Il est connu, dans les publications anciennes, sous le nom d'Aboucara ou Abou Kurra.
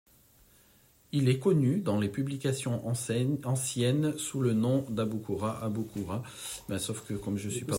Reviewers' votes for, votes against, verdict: 0, 3, rejected